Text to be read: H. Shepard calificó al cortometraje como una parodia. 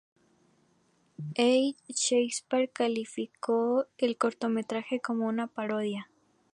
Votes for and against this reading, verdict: 0, 2, rejected